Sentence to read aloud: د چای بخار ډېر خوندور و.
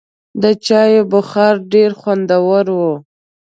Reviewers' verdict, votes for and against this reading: accepted, 2, 0